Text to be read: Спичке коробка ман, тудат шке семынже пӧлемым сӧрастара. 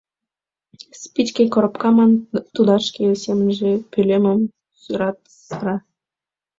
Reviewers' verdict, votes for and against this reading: accepted, 2, 1